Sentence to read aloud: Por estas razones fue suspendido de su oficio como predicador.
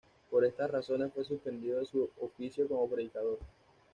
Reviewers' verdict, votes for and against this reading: accepted, 2, 0